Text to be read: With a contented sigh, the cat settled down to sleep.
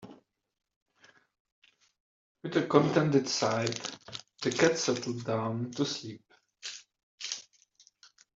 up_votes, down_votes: 2, 1